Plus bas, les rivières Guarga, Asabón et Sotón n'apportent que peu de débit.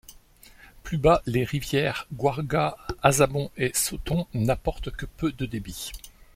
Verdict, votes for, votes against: accepted, 2, 0